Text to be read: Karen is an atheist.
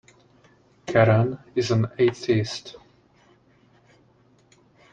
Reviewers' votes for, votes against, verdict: 2, 0, accepted